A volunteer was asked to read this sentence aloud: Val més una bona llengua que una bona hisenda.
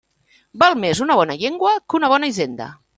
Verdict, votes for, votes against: accepted, 3, 1